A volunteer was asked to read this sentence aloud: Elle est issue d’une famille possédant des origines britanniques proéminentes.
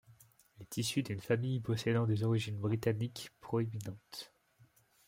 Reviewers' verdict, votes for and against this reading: rejected, 1, 2